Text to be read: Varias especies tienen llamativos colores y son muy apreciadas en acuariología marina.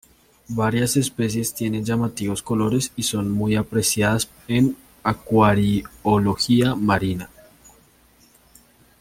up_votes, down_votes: 2, 0